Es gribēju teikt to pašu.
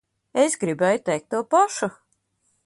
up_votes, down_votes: 2, 0